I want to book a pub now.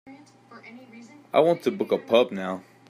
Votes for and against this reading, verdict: 2, 0, accepted